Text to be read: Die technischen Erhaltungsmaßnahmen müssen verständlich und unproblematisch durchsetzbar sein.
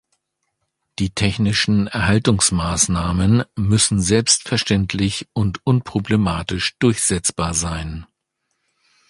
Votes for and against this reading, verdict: 1, 2, rejected